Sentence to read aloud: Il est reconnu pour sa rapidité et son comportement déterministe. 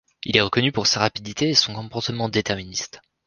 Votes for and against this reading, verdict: 1, 2, rejected